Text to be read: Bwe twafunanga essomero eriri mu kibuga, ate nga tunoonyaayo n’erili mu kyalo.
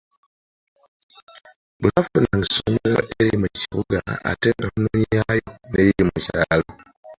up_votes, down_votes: 1, 3